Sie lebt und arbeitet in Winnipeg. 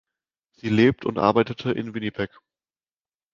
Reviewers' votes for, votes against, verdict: 0, 2, rejected